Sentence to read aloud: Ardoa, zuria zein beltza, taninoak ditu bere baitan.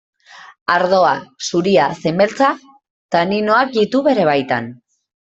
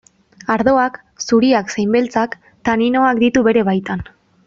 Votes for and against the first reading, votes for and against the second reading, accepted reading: 2, 0, 2, 2, first